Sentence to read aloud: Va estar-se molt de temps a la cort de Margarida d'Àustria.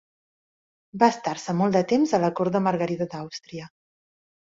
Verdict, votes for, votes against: accepted, 2, 0